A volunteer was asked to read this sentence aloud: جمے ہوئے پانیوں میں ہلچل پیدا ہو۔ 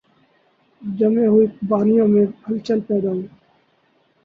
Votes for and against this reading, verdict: 0, 2, rejected